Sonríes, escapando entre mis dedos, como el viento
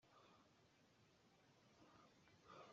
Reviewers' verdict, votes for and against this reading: rejected, 0, 2